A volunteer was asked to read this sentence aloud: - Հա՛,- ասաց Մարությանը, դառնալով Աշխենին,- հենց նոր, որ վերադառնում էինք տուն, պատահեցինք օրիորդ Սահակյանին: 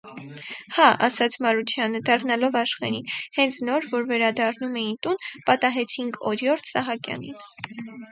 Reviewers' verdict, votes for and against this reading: rejected, 2, 4